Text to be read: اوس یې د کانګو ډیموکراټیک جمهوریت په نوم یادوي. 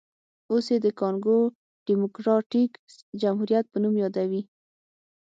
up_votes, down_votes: 6, 0